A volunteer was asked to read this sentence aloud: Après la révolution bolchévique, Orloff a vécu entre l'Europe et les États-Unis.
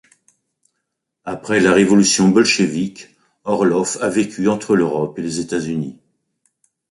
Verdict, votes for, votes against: accepted, 2, 1